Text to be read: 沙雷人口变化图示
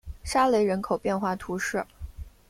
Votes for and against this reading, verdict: 2, 0, accepted